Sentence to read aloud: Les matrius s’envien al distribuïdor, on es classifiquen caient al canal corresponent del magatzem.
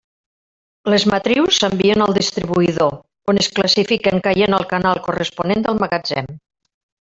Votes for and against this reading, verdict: 2, 0, accepted